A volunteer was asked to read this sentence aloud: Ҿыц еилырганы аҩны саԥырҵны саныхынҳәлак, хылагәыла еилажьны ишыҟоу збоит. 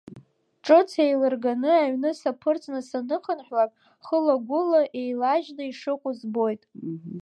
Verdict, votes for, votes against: accepted, 2, 0